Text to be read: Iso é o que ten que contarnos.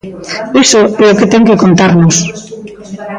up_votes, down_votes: 0, 2